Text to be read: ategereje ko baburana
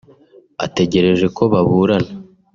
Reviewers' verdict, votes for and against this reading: accepted, 2, 0